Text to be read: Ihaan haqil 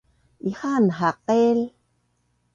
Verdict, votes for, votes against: accepted, 2, 0